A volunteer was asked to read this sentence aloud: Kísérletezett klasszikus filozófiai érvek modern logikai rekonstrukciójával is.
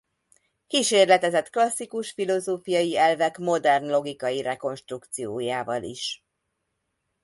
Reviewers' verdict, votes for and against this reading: rejected, 0, 2